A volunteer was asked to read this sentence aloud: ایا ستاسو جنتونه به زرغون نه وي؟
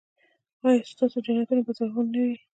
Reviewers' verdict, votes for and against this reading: rejected, 1, 2